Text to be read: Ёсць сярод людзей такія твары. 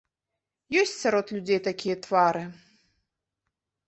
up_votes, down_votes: 2, 0